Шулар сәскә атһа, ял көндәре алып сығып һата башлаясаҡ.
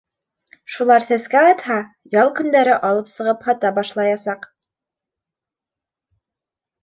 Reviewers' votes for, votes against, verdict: 3, 0, accepted